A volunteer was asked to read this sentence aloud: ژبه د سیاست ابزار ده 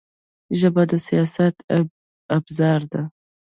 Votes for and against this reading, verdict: 2, 1, accepted